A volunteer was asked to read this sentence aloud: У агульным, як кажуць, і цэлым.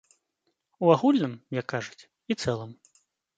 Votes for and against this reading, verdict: 2, 0, accepted